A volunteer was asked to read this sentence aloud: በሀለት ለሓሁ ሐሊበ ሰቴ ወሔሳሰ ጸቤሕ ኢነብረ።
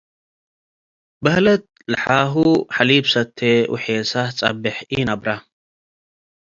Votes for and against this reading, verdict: 2, 0, accepted